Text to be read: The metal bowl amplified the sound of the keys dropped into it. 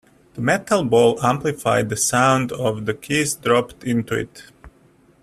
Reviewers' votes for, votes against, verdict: 2, 0, accepted